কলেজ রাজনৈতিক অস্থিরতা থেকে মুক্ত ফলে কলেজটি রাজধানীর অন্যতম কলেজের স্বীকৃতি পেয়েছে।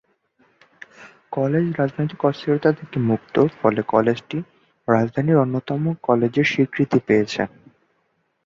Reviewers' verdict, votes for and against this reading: rejected, 0, 2